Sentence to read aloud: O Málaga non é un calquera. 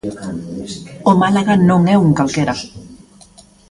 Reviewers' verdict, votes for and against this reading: rejected, 0, 2